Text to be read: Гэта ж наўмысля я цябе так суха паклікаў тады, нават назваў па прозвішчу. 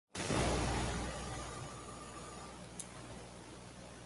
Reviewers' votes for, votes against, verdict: 0, 2, rejected